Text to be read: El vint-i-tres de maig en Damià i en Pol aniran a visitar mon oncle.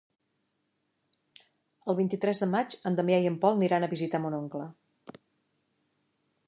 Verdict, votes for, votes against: rejected, 1, 2